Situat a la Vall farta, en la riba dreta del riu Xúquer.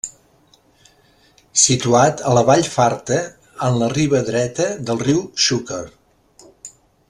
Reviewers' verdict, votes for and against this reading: accepted, 2, 0